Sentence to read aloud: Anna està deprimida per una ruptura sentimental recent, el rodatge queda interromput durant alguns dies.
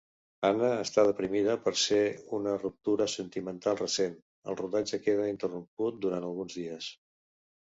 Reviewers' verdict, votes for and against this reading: rejected, 1, 2